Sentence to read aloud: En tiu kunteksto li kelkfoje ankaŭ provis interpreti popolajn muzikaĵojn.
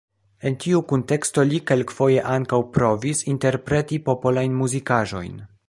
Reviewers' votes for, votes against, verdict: 2, 0, accepted